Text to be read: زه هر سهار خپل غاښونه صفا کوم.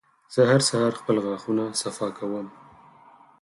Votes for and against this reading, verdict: 4, 0, accepted